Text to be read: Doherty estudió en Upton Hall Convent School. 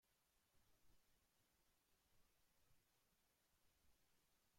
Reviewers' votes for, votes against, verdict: 1, 2, rejected